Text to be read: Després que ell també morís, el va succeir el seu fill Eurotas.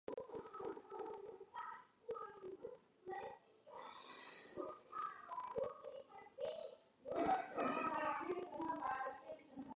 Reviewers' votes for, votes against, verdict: 0, 3, rejected